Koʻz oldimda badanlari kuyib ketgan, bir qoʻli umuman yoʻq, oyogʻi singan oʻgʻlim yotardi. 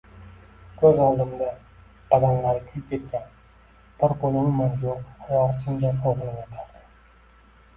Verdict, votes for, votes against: rejected, 1, 2